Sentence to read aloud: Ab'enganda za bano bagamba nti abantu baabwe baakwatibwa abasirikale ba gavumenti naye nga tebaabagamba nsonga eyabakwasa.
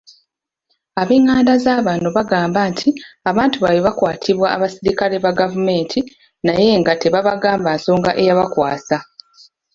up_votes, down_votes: 2, 0